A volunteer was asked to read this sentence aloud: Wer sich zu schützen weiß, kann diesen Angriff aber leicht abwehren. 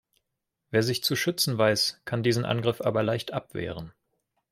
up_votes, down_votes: 2, 0